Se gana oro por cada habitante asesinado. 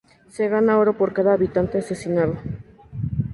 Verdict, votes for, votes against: accepted, 2, 0